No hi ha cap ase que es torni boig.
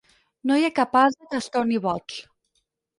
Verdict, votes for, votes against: accepted, 4, 0